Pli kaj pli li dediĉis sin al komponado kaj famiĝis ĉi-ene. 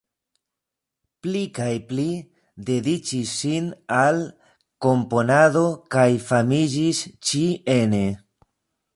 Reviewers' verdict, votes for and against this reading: rejected, 1, 2